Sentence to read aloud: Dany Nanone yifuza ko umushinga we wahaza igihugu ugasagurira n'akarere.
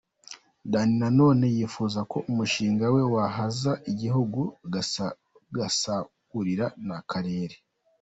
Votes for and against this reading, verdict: 1, 2, rejected